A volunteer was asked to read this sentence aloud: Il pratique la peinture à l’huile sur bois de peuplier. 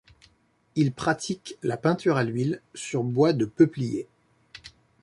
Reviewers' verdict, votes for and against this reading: accepted, 2, 0